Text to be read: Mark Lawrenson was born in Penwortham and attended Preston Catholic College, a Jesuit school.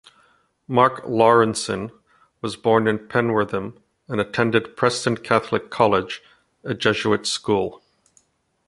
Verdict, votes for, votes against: accepted, 2, 0